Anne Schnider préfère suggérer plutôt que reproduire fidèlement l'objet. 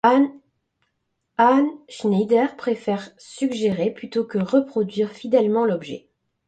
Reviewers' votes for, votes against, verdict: 0, 2, rejected